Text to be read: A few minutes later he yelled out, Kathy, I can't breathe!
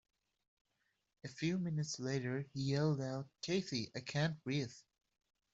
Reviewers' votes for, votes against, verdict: 0, 2, rejected